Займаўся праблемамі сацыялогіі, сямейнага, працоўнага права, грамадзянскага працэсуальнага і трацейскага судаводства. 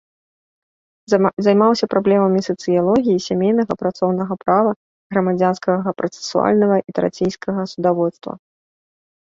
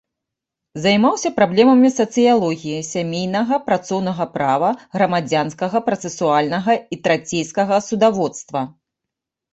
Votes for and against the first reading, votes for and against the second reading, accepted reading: 1, 2, 2, 0, second